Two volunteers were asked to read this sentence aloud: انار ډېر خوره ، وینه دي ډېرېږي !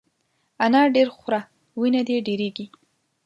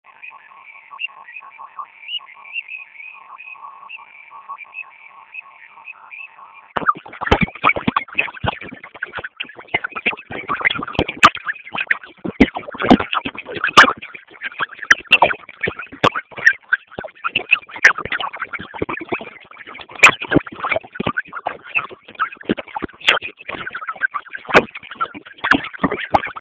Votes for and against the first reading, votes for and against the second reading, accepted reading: 2, 0, 0, 2, first